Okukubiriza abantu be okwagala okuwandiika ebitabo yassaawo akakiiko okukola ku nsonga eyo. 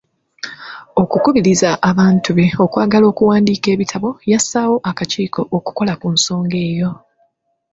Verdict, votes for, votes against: rejected, 1, 2